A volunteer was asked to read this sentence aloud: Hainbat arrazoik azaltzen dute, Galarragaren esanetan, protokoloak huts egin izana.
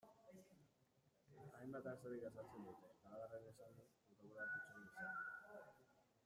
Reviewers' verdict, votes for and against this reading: rejected, 0, 2